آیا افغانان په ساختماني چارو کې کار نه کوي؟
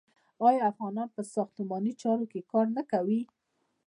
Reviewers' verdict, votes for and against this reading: rejected, 1, 2